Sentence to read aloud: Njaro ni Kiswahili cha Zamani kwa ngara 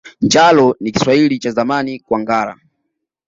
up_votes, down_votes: 0, 2